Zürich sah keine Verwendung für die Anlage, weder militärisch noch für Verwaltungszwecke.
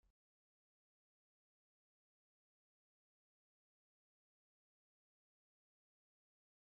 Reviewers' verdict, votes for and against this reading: rejected, 0, 2